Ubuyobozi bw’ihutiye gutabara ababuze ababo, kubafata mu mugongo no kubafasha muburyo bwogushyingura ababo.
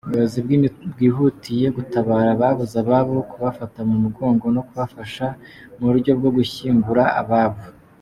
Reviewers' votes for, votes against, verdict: 1, 2, rejected